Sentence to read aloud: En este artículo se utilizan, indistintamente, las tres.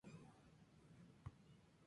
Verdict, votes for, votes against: accepted, 2, 0